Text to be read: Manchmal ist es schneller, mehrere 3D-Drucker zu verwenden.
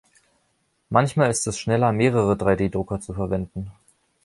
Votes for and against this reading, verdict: 0, 2, rejected